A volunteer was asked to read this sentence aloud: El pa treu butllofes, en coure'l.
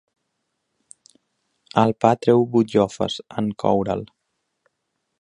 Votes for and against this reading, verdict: 2, 0, accepted